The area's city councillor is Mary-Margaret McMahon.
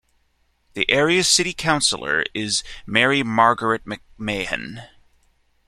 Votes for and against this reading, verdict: 2, 1, accepted